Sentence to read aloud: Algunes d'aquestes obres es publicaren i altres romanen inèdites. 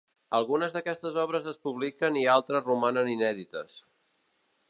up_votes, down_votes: 0, 2